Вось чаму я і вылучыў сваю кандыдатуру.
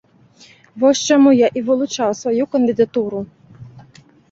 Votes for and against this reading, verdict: 2, 1, accepted